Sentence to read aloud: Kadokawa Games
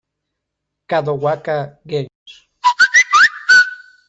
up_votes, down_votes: 0, 2